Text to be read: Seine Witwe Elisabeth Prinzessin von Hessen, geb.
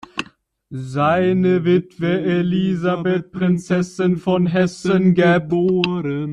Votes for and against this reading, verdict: 1, 2, rejected